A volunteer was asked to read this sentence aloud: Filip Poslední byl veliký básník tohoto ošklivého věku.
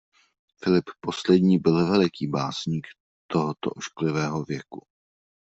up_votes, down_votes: 2, 0